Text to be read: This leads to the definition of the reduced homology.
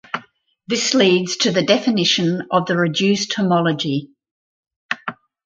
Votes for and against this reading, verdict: 0, 2, rejected